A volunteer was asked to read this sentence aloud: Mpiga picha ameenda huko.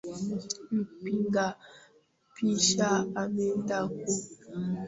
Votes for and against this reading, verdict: 0, 2, rejected